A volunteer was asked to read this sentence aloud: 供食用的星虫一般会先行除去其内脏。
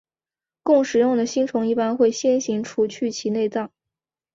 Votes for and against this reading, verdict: 2, 1, accepted